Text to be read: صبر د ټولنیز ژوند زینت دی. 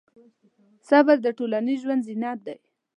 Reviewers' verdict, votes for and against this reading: accepted, 2, 0